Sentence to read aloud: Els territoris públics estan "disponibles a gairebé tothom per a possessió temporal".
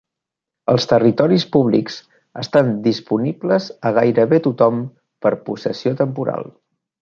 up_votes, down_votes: 0, 2